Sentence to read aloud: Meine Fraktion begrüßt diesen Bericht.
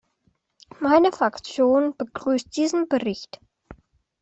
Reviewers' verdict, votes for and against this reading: accepted, 2, 0